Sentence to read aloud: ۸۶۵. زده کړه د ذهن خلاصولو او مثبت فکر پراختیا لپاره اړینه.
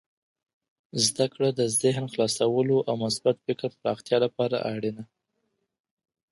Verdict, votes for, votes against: rejected, 0, 2